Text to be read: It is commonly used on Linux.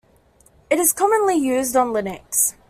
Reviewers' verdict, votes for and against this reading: accepted, 2, 0